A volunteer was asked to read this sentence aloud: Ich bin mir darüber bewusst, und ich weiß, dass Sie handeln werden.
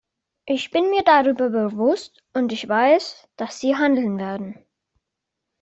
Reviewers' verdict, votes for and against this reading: accepted, 2, 0